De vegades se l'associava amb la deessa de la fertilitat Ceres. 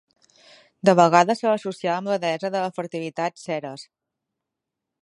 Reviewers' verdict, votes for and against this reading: accepted, 2, 1